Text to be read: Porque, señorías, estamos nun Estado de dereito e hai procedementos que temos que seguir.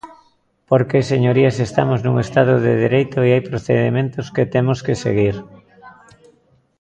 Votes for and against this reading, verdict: 2, 0, accepted